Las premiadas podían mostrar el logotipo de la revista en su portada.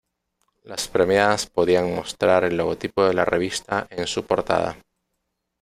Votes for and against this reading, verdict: 2, 0, accepted